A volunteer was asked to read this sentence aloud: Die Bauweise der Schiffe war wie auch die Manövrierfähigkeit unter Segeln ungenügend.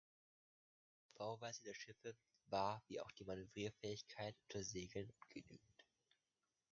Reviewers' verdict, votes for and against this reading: rejected, 1, 2